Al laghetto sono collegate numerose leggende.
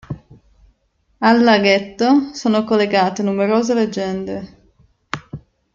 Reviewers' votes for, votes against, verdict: 2, 1, accepted